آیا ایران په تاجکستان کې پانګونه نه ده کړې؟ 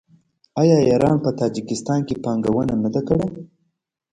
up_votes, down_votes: 2, 0